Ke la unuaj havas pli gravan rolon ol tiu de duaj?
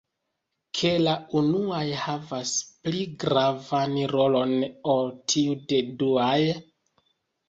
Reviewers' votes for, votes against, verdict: 1, 2, rejected